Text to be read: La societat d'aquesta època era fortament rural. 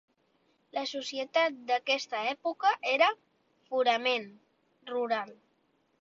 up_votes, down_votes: 0, 2